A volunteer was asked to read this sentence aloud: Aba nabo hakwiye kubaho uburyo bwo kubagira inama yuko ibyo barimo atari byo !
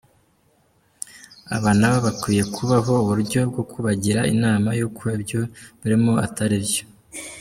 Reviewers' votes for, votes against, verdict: 1, 2, rejected